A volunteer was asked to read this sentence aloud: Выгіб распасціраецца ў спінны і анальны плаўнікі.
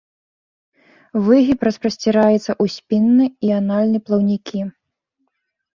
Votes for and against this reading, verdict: 1, 2, rejected